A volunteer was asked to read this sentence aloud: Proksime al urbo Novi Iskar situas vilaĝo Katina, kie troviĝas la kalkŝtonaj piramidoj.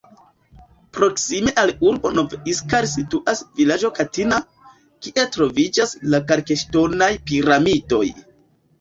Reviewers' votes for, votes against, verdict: 0, 2, rejected